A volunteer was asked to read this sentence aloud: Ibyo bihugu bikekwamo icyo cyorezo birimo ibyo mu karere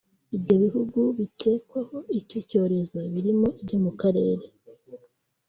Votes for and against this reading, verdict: 2, 3, rejected